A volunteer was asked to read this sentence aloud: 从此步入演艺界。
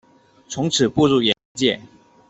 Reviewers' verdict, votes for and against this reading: rejected, 0, 2